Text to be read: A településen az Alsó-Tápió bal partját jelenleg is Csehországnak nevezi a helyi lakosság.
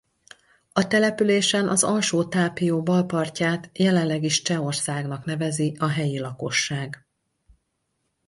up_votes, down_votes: 4, 0